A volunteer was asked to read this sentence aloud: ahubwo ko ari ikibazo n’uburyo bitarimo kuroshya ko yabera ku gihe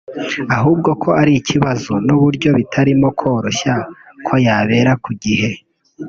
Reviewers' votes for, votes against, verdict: 1, 2, rejected